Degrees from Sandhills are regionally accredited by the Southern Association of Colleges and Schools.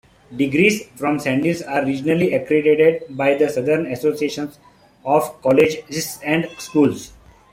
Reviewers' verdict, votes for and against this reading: rejected, 1, 2